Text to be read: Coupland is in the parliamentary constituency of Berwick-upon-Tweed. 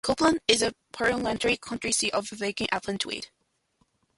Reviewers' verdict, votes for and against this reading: rejected, 0, 2